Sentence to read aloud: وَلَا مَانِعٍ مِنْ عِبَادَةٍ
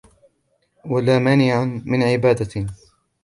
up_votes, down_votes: 1, 2